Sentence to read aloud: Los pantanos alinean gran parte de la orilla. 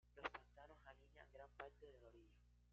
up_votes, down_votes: 0, 2